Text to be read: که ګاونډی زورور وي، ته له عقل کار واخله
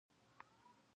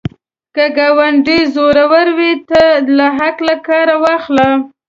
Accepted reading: second